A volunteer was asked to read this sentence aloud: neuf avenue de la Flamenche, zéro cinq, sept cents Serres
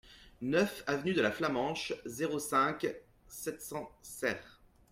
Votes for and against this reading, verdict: 2, 0, accepted